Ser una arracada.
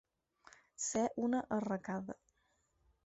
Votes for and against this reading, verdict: 4, 0, accepted